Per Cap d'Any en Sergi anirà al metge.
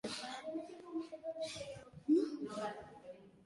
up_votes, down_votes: 0, 2